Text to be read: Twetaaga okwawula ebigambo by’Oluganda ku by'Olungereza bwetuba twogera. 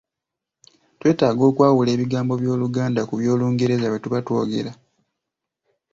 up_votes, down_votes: 1, 2